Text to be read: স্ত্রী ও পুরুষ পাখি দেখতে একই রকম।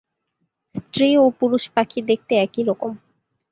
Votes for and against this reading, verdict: 2, 0, accepted